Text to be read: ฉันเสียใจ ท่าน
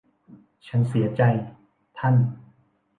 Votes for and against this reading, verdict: 2, 0, accepted